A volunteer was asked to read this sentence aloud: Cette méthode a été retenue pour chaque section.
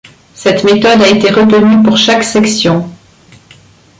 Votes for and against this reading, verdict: 2, 0, accepted